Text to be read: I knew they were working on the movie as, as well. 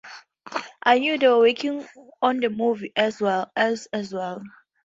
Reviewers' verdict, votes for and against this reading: rejected, 0, 2